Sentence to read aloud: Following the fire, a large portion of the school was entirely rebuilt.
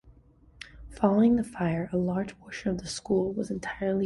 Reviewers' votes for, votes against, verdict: 0, 2, rejected